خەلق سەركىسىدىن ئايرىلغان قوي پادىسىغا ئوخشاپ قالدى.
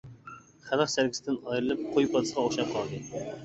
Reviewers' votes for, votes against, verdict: 1, 2, rejected